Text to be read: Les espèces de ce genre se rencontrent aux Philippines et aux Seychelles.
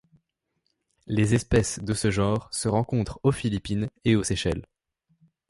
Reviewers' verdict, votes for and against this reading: accepted, 2, 0